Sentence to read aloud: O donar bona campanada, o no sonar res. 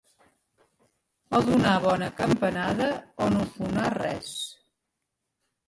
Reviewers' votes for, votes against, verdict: 1, 2, rejected